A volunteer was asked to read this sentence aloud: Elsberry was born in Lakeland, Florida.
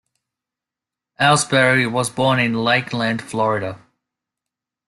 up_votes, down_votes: 2, 0